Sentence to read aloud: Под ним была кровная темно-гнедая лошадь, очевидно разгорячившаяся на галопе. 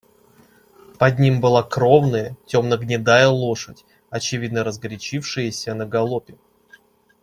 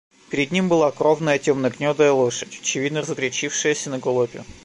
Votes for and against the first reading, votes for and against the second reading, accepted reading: 2, 0, 0, 2, first